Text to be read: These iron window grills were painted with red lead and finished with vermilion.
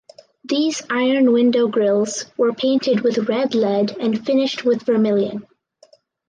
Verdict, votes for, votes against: accepted, 4, 0